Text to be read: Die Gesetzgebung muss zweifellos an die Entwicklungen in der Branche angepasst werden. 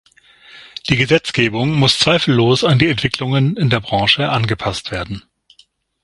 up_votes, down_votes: 6, 0